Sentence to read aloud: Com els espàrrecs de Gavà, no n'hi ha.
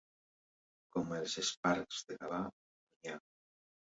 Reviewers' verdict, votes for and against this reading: rejected, 0, 2